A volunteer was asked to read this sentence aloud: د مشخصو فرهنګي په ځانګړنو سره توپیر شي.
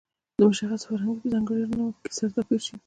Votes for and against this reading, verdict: 1, 2, rejected